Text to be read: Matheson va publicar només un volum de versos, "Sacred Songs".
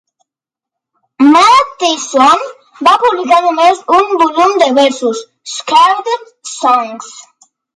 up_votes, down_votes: 2, 1